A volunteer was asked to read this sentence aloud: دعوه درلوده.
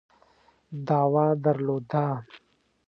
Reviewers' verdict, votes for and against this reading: accepted, 2, 0